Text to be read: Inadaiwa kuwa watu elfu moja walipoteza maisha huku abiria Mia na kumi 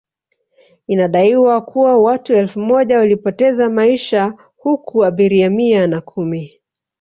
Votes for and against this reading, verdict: 0, 2, rejected